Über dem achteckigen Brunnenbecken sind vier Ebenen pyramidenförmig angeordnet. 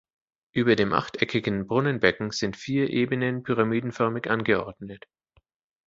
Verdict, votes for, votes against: accepted, 2, 0